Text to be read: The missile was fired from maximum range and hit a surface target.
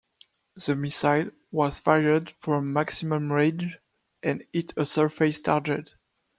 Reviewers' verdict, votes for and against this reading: rejected, 0, 2